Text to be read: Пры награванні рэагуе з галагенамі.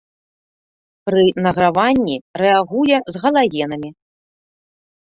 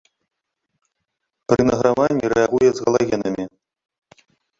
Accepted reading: first